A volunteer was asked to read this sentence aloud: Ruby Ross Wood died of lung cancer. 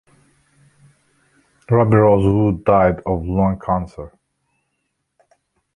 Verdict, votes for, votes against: rejected, 1, 2